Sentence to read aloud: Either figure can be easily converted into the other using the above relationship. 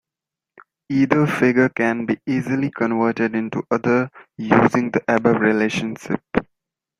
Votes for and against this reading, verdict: 0, 2, rejected